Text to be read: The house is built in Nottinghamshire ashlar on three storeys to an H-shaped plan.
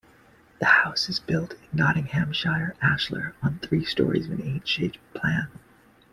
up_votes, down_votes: 2, 1